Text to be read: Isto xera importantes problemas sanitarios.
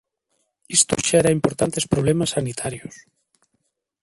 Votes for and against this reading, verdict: 0, 2, rejected